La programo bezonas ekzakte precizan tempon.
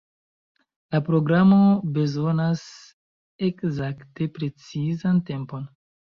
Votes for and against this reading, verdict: 2, 1, accepted